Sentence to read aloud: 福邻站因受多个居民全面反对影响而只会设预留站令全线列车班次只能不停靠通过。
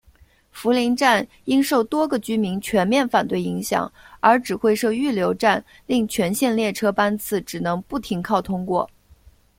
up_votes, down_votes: 2, 0